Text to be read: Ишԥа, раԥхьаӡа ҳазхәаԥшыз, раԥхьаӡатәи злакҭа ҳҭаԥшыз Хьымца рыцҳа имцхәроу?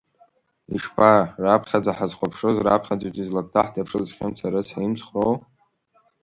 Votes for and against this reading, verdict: 1, 2, rejected